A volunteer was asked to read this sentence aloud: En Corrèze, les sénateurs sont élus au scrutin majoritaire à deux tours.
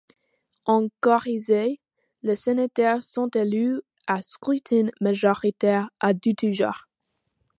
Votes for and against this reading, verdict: 0, 2, rejected